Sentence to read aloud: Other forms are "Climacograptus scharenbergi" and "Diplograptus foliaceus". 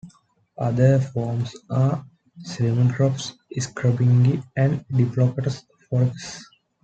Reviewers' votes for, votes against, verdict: 0, 2, rejected